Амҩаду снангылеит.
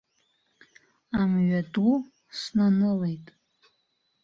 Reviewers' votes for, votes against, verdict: 1, 2, rejected